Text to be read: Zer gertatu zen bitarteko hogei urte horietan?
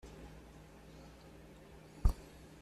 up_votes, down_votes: 0, 2